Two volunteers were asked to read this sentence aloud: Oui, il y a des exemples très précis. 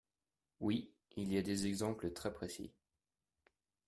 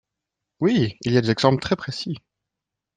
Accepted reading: first